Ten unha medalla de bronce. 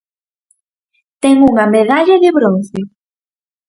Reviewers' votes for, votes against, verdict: 4, 0, accepted